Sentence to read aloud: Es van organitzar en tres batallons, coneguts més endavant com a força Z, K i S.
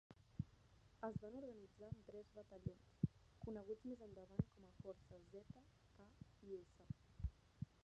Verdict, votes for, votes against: rejected, 1, 2